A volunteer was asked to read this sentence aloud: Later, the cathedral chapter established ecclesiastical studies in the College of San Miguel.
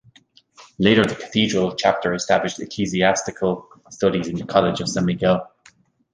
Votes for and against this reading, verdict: 1, 2, rejected